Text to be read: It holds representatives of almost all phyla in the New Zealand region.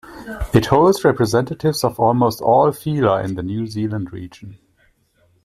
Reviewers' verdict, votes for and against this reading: accepted, 2, 0